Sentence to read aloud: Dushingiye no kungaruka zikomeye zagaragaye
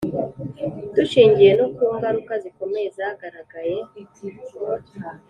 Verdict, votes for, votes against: accepted, 3, 0